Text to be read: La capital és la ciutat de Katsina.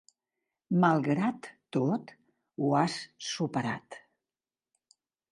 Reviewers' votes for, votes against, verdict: 0, 2, rejected